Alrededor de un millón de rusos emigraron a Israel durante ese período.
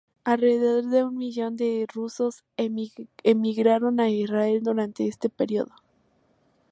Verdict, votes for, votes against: rejected, 0, 2